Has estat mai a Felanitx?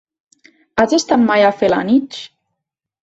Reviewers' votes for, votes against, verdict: 1, 2, rejected